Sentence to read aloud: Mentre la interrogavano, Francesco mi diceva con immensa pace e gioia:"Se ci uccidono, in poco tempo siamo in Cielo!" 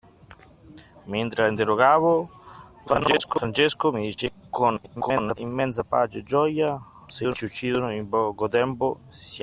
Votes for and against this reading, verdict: 0, 2, rejected